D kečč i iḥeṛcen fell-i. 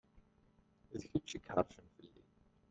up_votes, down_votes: 1, 2